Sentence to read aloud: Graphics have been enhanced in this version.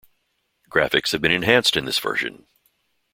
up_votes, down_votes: 2, 0